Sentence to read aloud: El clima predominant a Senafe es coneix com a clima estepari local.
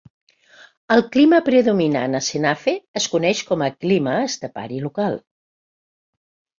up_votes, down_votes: 2, 0